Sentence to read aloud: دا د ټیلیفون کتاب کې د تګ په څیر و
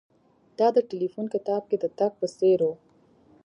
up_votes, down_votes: 3, 0